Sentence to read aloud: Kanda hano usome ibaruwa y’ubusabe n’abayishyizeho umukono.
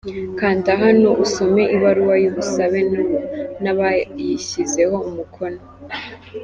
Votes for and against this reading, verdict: 0, 2, rejected